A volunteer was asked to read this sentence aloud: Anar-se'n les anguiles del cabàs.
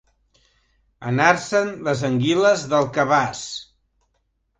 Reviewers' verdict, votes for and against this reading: accepted, 2, 1